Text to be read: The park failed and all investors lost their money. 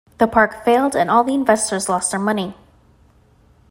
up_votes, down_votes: 1, 2